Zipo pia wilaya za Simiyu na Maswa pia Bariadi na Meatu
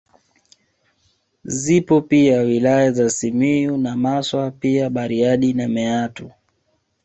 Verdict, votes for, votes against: accepted, 3, 0